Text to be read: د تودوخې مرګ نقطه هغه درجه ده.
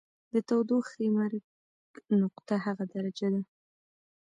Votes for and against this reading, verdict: 1, 2, rejected